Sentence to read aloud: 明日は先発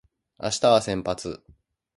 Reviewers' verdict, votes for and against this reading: accepted, 2, 0